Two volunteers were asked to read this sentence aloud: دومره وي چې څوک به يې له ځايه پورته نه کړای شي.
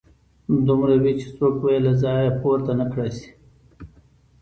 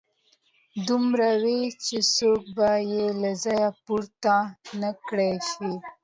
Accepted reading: second